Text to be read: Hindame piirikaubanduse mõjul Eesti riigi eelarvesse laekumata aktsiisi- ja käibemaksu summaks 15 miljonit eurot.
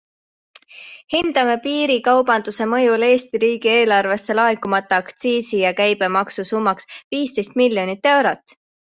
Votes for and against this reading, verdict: 0, 2, rejected